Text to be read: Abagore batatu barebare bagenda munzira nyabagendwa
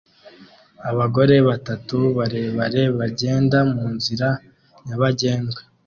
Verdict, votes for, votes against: accepted, 2, 0